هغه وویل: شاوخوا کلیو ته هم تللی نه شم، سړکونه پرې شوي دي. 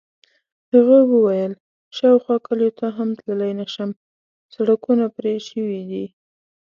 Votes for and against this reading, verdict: 2, 0, accepted